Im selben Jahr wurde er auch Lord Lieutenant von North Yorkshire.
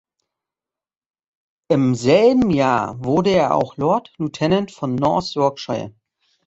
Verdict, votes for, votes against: accepted, 2, 0